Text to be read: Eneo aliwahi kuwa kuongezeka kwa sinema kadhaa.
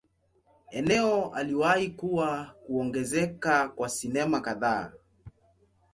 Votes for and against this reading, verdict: 2, 0, accepted